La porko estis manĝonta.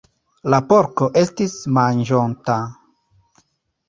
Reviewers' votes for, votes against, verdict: 1, 2, rejected